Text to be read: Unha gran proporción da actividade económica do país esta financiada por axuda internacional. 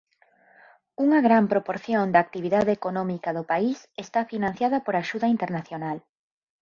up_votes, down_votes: 6, 0